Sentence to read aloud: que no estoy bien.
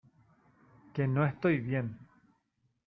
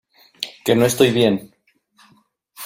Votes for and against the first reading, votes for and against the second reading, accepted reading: 1, 2, 2, 0, second